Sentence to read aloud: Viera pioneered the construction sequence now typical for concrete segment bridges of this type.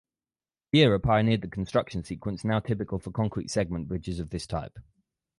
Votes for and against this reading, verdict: 4, 0, accepted